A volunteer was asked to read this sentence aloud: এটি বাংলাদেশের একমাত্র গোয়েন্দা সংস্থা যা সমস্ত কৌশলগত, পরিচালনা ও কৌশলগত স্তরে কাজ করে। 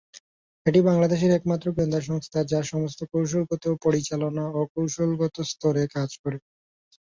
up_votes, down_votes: 0, 2